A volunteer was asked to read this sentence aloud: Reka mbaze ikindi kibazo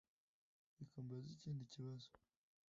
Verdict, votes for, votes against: rejected, 0, 2